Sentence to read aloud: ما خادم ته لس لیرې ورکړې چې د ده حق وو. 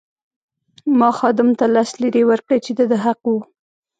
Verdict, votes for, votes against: rejected, 1, 2